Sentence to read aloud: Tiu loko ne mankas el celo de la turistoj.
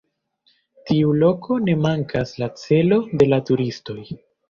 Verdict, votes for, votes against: rejected, 0, 2